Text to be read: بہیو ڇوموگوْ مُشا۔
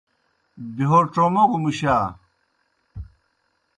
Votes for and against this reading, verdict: 2, 0, accepted